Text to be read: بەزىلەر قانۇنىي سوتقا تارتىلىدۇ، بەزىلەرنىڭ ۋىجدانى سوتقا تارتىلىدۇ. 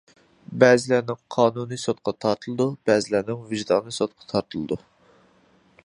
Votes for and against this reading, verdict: 0, 2, rejected